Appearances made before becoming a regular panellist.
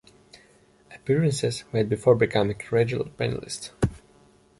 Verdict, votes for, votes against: accepted, 2, 0